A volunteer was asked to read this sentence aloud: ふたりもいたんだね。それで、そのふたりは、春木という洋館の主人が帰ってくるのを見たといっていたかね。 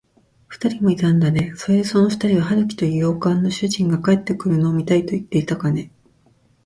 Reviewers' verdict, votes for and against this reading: rejected, 1, 2